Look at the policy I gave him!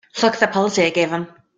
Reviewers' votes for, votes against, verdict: 0, 2, rejected